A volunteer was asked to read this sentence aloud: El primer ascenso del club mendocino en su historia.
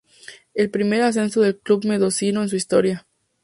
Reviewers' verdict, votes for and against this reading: rejected, 0, 4